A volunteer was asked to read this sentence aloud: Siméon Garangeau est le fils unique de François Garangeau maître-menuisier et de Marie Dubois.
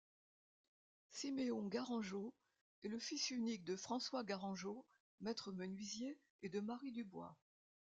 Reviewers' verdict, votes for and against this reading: accepted, 2, 0